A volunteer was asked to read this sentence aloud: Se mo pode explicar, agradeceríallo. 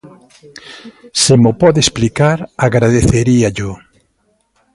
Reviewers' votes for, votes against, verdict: 2, 0, accepted